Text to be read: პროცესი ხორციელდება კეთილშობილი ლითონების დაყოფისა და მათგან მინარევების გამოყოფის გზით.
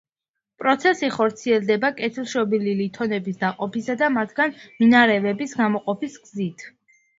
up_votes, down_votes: 2, 0